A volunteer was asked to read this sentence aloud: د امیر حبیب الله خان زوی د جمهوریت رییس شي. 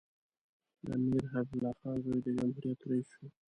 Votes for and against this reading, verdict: 2, 1, accepted